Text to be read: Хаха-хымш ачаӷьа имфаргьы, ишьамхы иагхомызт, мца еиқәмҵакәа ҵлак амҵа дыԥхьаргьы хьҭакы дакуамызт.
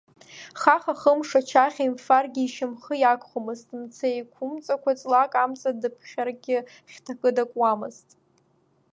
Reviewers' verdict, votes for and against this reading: accepted, 2, 0